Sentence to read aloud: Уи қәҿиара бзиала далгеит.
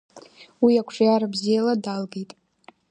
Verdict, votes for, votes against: accepted, 2, 1